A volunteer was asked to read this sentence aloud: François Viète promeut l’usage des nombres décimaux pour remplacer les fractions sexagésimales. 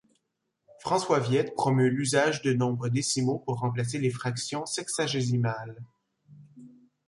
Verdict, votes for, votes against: rejected, 0, 2